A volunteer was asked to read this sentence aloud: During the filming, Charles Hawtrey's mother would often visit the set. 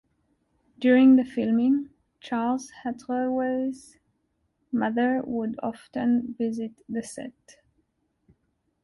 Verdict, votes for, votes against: rejected, 0, 2